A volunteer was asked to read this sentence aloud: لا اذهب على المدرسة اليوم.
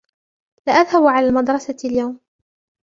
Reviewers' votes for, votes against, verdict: 1, 2, rejected